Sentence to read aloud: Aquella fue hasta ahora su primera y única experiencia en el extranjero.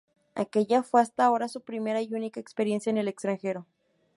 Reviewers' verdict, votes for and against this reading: accepted, 2, 0